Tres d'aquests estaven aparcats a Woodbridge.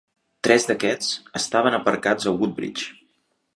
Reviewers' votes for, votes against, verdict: 3, 0, accepted